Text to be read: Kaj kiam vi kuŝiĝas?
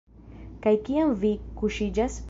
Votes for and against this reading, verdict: 2, 1, accepted